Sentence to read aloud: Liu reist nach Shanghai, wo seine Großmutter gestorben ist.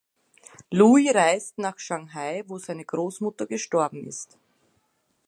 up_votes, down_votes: 0, 2